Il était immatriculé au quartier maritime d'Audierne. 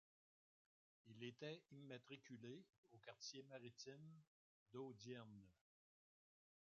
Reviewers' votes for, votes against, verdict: 0, 2, rejected